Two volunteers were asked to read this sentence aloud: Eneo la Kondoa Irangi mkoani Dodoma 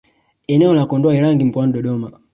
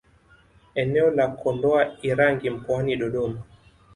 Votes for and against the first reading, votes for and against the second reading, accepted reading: 0, 2, 2, 0, second